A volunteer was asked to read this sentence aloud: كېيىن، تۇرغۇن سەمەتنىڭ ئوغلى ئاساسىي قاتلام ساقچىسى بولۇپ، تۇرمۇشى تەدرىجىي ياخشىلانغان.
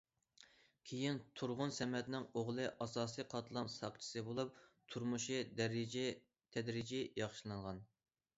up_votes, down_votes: 0, 2